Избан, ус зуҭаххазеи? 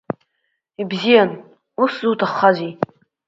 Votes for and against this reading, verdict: 1, 2, rejected